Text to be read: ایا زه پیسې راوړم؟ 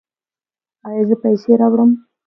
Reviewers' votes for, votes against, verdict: 2, 0, accepted